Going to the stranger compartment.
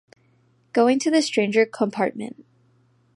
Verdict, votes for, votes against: accepted, 2, 0